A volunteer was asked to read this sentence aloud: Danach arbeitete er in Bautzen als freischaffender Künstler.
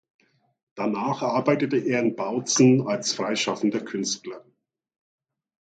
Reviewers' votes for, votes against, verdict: 2, 0, accepted